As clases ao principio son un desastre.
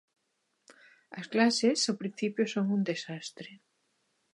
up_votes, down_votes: 2, 0